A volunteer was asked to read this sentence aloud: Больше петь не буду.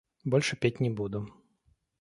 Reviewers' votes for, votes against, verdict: 2, 0, accepted